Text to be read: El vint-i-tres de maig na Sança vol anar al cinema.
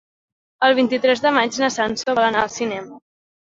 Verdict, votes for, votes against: accepted, 3, 1